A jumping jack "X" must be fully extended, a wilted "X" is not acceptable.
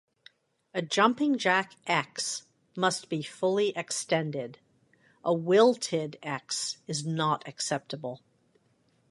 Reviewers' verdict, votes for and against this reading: accepted, 2, 1